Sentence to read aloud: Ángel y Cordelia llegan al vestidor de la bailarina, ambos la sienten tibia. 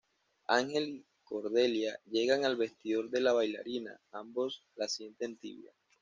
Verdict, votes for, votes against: rejected, 1, 2